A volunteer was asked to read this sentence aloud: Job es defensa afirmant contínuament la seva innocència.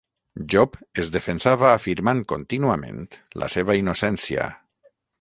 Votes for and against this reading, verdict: 3, 3, rejected